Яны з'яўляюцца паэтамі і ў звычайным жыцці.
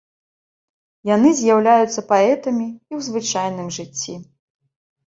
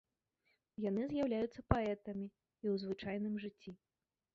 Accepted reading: first